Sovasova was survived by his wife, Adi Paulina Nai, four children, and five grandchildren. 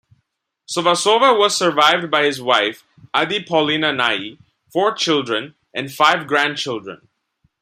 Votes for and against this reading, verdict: 1, 2, rejected